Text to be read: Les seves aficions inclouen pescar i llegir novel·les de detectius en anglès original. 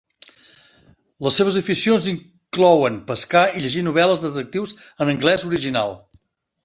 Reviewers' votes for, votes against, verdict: 1, 2, rejected